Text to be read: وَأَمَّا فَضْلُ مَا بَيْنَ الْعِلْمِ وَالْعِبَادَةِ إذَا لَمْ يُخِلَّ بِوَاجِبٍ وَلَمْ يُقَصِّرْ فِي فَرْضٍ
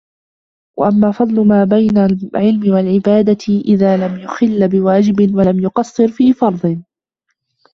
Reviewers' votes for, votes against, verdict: 2, 0, accepted